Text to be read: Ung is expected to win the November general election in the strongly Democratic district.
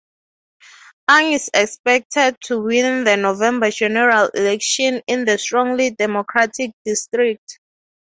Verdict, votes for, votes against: accepted, 6, 0